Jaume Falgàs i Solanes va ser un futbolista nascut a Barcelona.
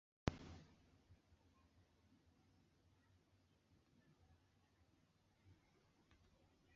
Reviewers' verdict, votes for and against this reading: rejected, 0, 2